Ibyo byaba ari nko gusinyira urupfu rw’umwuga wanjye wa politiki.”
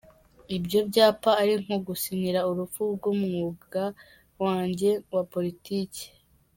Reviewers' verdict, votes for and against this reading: rejected, 0, 2